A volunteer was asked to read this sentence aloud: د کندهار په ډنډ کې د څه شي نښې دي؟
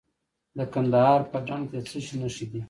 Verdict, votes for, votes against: rejected, 1, 2